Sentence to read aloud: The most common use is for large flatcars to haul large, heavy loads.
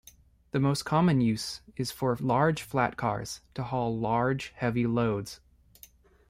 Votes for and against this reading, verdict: 2, 0, accepted